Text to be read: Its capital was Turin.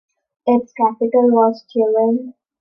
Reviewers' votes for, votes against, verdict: 2, 0, accepted